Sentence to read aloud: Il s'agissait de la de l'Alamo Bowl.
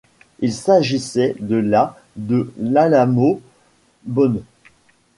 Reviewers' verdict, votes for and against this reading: rejected, 1, 2